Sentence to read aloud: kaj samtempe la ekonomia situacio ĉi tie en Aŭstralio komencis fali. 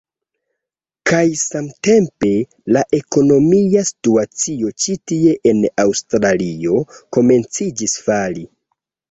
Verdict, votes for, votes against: rejected, 1, 2